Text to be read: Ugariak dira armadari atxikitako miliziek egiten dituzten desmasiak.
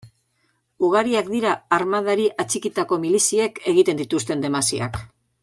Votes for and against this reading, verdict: 2, 0, accepted